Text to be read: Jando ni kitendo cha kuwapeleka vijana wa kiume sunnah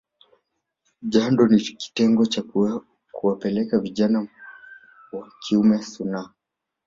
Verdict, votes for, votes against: accepted, 7, 0